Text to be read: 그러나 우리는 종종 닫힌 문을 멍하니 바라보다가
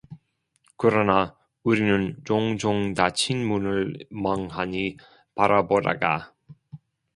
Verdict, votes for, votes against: accepted, 2, 0